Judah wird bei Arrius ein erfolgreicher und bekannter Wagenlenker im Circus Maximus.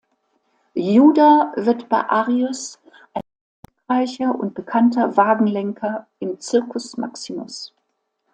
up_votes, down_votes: 0, 2